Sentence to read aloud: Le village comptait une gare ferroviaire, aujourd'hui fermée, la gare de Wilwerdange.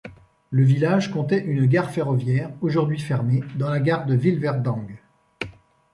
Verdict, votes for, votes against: rejected, 1, 2